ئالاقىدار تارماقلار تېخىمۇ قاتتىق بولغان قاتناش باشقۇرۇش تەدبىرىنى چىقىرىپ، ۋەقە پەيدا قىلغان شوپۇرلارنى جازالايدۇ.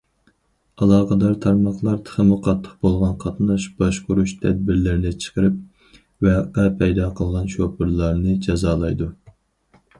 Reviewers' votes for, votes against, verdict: 2, 4, rejected